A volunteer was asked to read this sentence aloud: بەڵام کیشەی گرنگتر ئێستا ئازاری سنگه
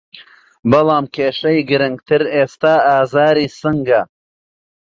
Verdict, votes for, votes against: accepted, 2, 1